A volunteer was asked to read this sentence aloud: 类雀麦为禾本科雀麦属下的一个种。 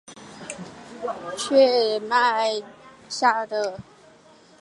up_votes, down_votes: 0, 2